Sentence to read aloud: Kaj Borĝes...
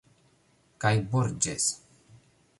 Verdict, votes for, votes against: accepted, 2, 0